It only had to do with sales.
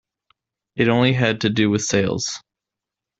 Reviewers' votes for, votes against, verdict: 2, 0, accepted